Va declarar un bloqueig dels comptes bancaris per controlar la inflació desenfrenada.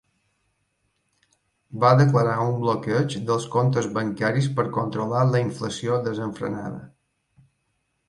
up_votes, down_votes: 3, 0